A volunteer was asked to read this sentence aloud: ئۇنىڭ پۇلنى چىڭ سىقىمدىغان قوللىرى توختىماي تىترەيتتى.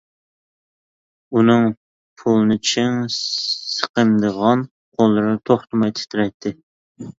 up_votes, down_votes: 2, 1